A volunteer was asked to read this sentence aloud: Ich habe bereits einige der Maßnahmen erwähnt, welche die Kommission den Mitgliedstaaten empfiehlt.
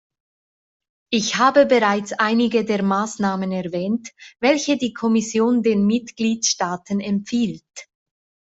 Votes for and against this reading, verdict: 2, 0, accepted